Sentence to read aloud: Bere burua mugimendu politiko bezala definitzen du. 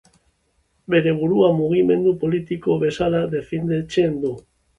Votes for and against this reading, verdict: 2, 1, accepted